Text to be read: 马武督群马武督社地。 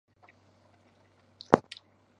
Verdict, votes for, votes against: rejected, 1, 3